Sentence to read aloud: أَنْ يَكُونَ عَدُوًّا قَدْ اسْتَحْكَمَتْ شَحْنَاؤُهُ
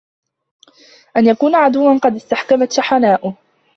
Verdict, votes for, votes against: accepted, 2, 1